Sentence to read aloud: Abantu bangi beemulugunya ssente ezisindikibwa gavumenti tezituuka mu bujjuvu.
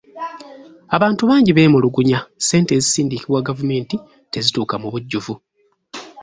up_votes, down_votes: 2, 1